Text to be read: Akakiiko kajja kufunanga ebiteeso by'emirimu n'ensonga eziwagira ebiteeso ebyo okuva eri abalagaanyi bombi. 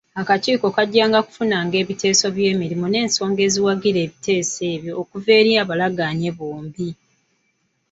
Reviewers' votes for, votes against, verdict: 1, 2, rejected